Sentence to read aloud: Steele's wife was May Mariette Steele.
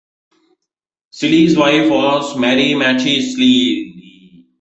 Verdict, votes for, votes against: rejected, 1, 2